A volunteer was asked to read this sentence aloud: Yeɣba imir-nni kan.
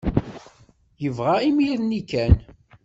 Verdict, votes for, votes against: rejected, 0, 2